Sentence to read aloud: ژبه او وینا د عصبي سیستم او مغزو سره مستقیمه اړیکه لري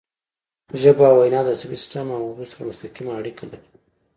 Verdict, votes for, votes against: accepted, 2, 0